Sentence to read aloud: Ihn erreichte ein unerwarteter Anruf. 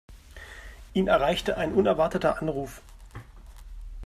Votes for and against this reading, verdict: 2, 0, accepted